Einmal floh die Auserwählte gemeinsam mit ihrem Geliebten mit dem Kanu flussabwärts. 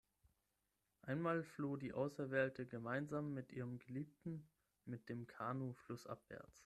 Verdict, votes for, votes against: accepted, 6, 0